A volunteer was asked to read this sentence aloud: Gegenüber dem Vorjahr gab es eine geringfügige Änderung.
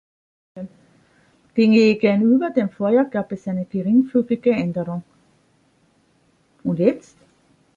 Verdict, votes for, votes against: rejected, 0, 3